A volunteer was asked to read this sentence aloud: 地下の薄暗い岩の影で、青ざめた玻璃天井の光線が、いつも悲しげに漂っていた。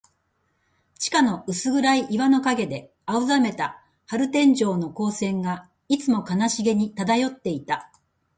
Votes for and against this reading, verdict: 2, 0, accepted